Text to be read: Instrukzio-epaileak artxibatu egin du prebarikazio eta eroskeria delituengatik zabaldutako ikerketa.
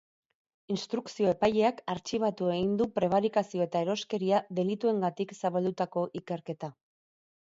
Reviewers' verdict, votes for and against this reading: rejected, 2, 2